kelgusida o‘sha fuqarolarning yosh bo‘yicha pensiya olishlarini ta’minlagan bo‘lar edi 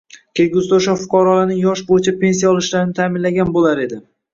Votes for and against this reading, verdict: 2, 1, accepted